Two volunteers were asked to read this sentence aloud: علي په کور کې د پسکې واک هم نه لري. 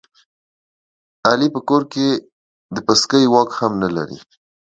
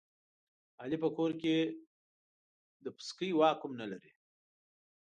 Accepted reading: first